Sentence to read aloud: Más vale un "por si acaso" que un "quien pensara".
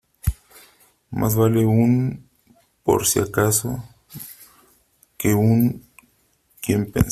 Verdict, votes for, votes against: rejected, 0, 2